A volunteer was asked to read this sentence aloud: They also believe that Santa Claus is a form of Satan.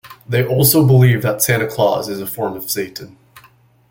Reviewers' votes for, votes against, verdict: 2, 0, accepted